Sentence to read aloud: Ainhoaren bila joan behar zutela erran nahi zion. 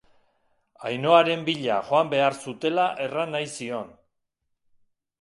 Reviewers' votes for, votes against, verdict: 2, 0, accepted